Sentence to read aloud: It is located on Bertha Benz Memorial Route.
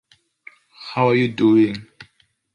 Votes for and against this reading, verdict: 0, 2, rejected